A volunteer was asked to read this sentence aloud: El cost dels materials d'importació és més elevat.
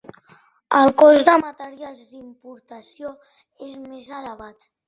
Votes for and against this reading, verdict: 2, 0, accepted